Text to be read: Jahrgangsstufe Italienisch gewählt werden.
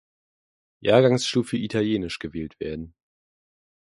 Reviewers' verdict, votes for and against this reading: accepted, 2, 0